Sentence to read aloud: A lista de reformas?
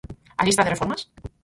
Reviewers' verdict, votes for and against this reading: rejected, 2, 4